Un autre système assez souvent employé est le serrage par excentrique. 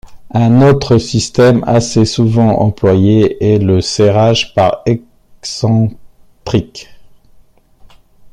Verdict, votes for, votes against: rejected, 1, 2